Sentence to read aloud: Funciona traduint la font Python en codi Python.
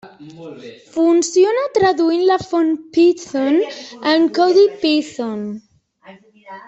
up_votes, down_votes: 2, 0